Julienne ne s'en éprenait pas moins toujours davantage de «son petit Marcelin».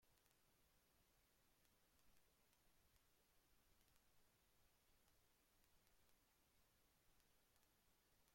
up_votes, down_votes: 0, 2